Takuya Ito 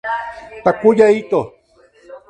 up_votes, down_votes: 0, 2